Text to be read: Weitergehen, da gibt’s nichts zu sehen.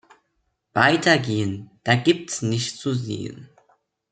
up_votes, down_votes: 2, 0